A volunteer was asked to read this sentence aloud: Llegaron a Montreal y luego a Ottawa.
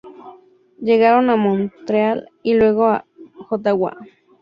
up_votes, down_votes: 2, 0